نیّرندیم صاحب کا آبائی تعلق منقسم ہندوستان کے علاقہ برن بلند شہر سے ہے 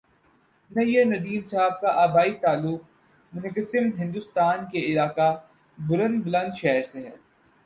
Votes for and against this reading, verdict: 0, 2, rejected